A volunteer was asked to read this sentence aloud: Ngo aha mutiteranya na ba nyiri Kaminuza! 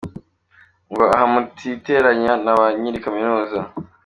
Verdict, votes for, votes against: accepted, 2, 0